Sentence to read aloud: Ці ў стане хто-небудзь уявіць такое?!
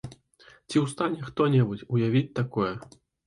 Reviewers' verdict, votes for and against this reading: accepted, 2, 0